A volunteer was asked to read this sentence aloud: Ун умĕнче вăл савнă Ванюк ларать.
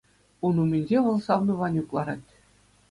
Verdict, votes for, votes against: accepted, 2, 0